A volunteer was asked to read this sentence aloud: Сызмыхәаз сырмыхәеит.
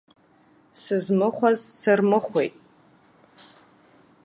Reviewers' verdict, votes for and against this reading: accepted, 2, 0